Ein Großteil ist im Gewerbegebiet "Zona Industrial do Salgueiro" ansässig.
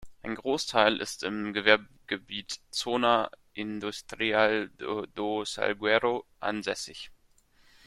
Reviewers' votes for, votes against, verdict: 0, 2, rejected